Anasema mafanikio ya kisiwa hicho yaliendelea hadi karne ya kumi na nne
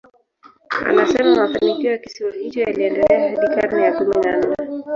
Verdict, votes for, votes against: rejected, 0, 3